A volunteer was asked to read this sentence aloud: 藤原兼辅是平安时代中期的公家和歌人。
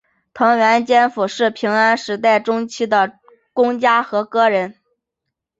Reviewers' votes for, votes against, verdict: 2, 0, accepted